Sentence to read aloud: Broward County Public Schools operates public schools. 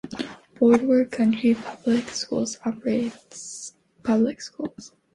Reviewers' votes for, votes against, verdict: 2, 0, accepted